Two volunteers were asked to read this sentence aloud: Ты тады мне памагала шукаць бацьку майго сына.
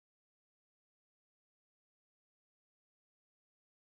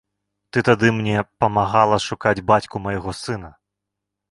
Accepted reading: second